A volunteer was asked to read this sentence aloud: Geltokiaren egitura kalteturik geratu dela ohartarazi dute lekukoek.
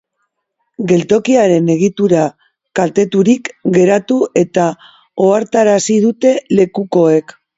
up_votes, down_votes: 1, 2